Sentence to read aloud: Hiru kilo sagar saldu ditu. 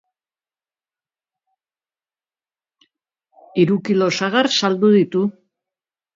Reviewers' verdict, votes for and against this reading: accepted, 2, 0